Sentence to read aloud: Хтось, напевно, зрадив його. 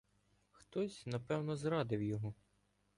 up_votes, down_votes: 1, 2